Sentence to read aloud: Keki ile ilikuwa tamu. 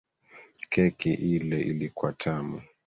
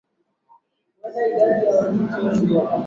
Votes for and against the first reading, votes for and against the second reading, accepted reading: 3, 0, 0, 2, first